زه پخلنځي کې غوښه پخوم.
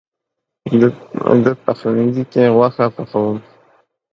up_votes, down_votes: 0, 2